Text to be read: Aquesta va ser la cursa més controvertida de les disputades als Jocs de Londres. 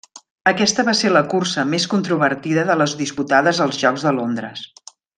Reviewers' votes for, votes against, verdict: 3, 0, accepted